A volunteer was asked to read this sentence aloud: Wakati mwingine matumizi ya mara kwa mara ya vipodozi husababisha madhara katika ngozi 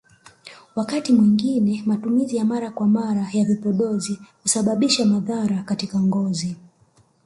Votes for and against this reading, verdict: 1, 2, rejected